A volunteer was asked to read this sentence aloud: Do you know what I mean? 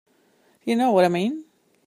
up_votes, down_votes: 3, 4